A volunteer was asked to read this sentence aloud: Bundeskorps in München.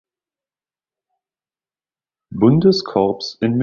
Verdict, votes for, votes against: rejected, 0, 2